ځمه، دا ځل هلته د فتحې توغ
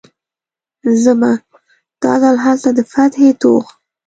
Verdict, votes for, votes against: rejected, 1, 2